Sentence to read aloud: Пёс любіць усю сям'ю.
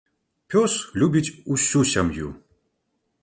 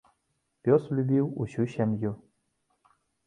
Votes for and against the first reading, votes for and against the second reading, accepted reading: 2, 0, 1, 2, first